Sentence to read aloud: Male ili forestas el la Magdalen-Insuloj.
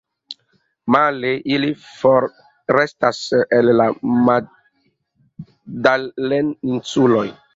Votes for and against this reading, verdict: 4, 2, accepted